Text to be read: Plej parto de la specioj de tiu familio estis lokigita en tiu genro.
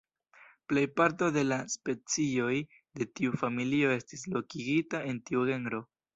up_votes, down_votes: 1, 2